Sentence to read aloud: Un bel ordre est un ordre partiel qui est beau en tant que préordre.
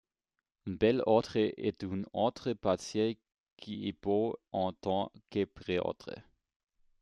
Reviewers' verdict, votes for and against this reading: accepted, 2, 0